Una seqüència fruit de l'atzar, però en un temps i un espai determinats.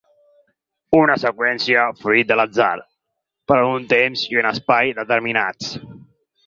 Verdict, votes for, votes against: rejected, 0, 4